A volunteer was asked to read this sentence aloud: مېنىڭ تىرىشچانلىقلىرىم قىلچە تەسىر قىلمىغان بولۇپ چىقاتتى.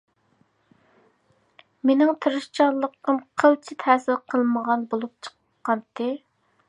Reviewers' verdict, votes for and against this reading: rejected, 0, 2